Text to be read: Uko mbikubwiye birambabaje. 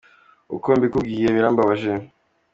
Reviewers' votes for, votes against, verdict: 2, 0, accepted